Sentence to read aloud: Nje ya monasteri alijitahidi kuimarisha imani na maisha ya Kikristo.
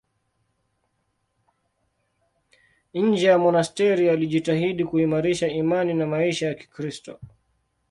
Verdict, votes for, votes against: accepted, 2, 0